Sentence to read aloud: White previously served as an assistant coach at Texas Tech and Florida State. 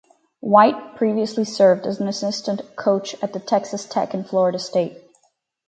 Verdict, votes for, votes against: rejected, 0, 4